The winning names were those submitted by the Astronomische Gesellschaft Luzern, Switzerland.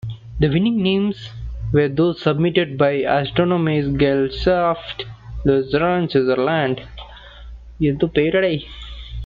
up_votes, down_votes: 0, 2